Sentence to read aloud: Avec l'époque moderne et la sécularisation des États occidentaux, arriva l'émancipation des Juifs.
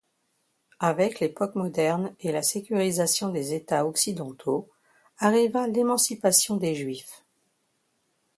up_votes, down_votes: 1, 2